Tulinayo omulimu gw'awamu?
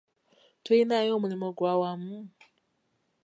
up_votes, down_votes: 2, 0